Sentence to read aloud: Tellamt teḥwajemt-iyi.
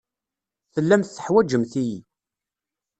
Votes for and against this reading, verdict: 1, 2, rejected